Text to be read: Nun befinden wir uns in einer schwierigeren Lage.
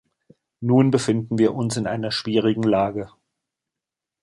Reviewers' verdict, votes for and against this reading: rejected, 1, 2